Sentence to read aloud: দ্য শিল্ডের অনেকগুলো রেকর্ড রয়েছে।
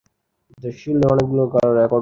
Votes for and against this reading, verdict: 2, 15, rejected